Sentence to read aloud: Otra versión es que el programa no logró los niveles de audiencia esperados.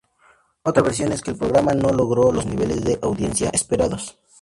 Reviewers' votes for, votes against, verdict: 2, 0, accepted